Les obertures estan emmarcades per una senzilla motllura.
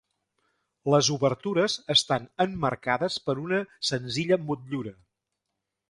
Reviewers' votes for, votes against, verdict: 3, 0, accepted